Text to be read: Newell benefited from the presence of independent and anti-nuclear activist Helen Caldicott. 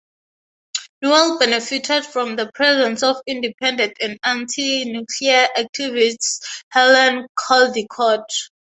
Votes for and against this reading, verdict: 6, 0, accepted